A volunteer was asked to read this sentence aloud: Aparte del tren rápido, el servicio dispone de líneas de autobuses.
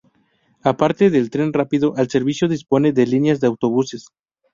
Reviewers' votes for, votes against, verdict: 0, 2, rejected